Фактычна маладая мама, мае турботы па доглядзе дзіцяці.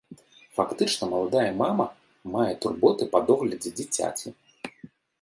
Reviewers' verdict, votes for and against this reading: accepted, 2, 0